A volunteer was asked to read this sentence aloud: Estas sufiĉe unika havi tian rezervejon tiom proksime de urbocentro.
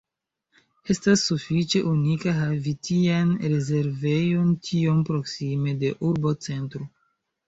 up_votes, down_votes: 1, 2